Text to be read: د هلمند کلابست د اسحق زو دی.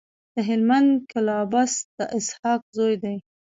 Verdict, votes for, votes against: rejected, 0, 2